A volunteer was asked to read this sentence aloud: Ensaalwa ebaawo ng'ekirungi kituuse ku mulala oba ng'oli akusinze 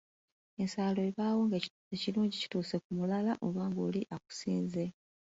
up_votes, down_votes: 2, 0